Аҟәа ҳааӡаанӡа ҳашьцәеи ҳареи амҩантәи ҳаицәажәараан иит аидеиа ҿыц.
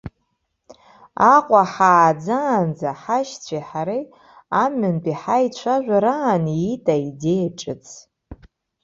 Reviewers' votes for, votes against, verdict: 2, 0, accepted